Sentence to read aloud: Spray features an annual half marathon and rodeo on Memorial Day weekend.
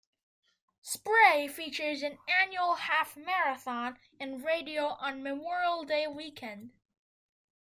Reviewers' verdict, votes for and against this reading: rejected, 1, 2